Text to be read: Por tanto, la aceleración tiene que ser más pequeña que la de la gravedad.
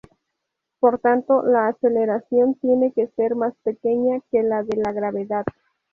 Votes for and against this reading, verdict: 0, 2, rejected